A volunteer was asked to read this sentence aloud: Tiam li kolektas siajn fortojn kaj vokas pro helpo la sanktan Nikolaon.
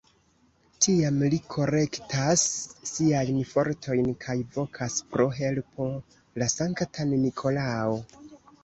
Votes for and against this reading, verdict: 1, 2, rejected